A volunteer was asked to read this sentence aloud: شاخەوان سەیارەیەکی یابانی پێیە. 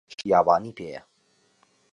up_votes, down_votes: 0, 6